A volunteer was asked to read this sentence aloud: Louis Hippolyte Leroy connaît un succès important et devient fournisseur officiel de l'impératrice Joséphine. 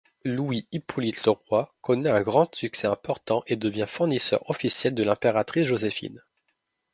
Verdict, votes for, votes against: rejected, 0, 2